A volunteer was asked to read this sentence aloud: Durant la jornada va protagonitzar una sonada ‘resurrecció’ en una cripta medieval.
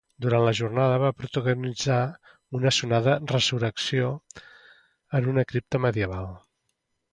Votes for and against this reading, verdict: 2, 0, accepted